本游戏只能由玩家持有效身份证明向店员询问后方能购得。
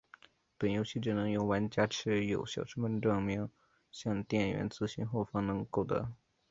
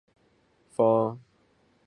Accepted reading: first